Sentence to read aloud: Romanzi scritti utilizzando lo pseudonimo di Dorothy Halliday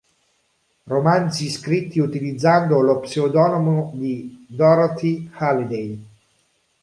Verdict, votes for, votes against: accepted, 2, 0